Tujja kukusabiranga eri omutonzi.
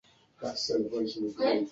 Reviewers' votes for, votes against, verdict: 0, 2, rejected